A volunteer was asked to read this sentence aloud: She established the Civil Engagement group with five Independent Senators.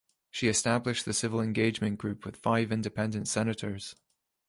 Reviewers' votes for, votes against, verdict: 3, 0, accepted